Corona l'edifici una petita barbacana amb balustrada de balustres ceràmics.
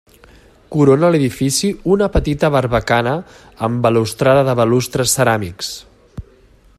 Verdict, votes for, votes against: accepted, 2, 0